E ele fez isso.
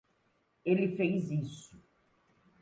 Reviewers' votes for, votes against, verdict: 0, 2, rejected